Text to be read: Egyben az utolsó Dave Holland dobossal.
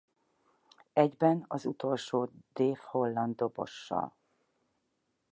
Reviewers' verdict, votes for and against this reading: accepted, 6, 0